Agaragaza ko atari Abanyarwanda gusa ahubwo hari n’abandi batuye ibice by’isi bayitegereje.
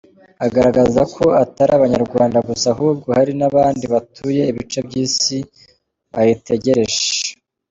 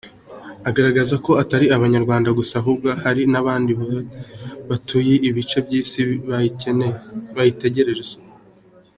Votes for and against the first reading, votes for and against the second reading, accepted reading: 2, 0, 0, 2, first